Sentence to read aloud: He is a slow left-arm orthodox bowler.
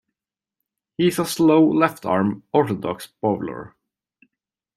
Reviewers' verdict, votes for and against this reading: accepted, 2, 0